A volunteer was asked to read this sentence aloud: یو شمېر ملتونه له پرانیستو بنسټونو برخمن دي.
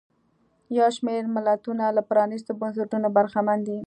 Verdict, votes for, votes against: accepted, 3, 0